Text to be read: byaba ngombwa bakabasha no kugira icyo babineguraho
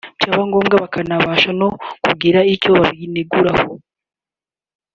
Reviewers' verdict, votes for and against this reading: accepted, 2, 1